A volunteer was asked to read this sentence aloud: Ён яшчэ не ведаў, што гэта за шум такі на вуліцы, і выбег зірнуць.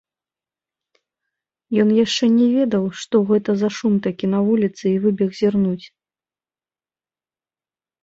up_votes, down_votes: 1, 2